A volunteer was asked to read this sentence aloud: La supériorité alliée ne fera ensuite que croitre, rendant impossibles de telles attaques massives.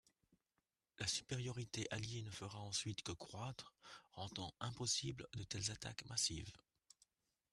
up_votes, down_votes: 2, 0